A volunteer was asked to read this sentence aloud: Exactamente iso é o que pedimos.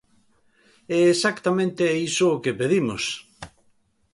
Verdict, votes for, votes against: rejected, 1, 2